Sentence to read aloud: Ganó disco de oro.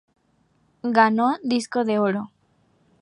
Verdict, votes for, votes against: accepted, 2, 0